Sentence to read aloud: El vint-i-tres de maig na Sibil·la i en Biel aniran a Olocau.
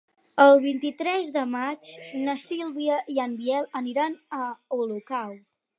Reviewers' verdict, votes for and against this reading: rejected, 0, 4